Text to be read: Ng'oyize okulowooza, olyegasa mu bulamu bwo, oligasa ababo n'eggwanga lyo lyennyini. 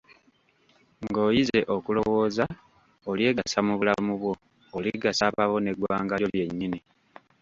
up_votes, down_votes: 1, 2